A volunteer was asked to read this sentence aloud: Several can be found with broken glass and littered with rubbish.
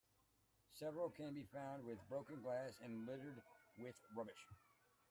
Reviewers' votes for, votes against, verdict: 0, 2, rejected